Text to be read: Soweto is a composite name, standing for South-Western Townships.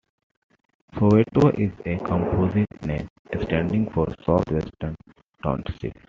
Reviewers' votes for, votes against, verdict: 2, 1, accepted